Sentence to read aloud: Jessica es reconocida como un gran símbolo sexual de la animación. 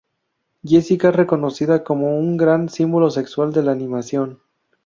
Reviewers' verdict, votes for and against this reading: accepted, 2, 0